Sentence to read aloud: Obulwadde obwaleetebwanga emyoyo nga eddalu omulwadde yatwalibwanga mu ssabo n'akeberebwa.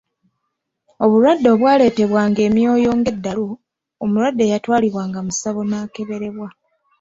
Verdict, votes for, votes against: accepted, 2, 0